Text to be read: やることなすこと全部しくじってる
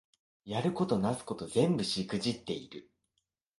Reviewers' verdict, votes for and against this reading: rejected, 0, 2